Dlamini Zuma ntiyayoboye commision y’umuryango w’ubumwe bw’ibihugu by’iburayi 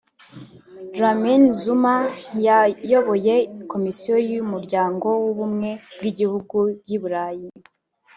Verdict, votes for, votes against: rejected, 1, 2